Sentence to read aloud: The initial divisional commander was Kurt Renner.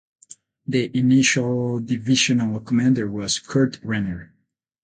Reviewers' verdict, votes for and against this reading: accepted, 8, 0